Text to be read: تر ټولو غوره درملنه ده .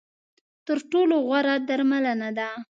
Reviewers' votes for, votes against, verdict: 2, 0, accepted